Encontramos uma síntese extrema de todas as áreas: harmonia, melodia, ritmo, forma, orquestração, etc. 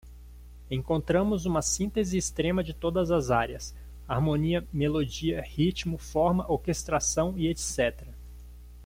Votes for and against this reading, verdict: 1, 2, rejected